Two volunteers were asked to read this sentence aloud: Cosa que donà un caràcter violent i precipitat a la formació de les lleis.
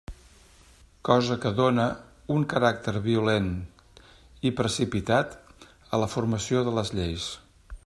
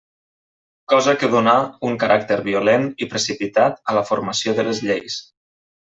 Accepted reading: second